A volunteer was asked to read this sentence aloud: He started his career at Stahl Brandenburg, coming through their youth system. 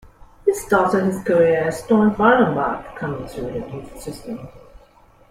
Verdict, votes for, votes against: accepted, 2, 0